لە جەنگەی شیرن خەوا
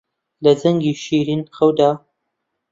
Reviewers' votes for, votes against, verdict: 0, 2, rejected